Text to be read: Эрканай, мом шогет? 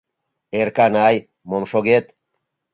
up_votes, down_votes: 2, 0